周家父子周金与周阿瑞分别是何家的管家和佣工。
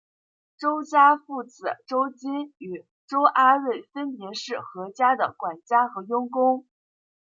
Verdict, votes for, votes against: accepted, 2, 0